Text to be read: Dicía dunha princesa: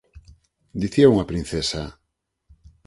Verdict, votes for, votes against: rejected, 2, 4